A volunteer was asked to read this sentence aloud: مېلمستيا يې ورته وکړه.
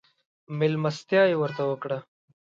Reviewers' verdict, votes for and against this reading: accepted, 2, 0